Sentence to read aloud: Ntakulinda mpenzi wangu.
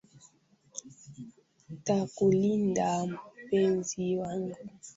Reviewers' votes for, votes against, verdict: 0, 2, rejected